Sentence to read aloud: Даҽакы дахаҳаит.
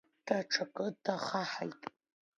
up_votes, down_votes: 2, 1